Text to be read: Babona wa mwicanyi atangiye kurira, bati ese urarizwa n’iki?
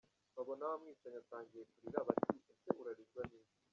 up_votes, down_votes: 1, 2